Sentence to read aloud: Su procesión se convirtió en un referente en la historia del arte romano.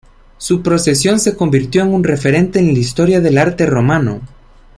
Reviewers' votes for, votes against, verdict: 2, 0, accepted